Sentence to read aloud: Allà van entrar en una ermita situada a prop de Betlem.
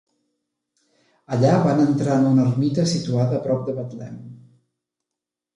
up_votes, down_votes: 0, 2